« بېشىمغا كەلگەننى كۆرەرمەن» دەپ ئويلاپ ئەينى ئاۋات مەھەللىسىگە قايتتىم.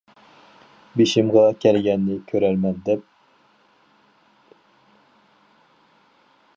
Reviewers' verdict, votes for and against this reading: rejected, 0, 4